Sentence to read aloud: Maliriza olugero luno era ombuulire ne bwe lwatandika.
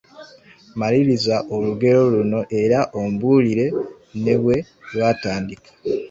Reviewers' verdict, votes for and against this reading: accepted, 2, 1